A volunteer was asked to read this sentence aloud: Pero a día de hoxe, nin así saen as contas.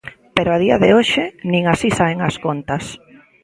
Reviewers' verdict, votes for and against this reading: rejected, 1, 2